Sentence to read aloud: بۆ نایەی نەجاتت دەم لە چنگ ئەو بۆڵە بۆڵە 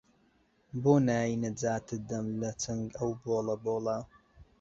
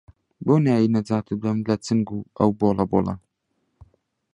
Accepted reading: first